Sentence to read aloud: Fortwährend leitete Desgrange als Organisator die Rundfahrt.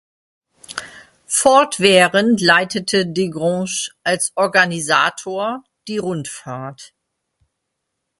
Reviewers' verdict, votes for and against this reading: accepted, 2, 0